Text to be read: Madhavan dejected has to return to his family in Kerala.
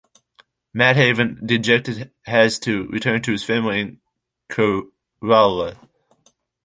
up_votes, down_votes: 0, 2